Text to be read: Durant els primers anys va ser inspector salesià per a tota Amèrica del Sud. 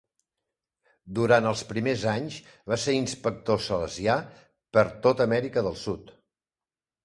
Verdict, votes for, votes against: rejected, 1, 2